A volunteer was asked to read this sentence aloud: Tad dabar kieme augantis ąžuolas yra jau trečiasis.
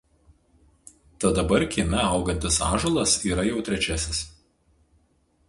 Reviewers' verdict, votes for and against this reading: accepted, 4, 0